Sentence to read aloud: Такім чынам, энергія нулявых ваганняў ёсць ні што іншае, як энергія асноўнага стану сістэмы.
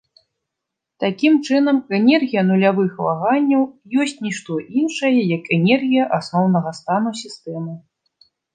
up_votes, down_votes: 0, 2